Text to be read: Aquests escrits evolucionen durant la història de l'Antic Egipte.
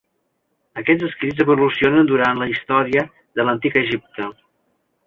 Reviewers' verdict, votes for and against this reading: accepted, 3, 0